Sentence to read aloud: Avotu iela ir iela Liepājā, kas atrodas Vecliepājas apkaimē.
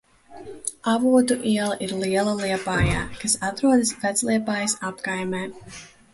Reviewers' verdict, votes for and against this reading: rejected, 1, 2